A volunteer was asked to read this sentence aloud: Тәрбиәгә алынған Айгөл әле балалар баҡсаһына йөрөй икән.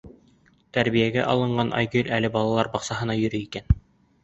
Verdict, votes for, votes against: accepted, 3, 0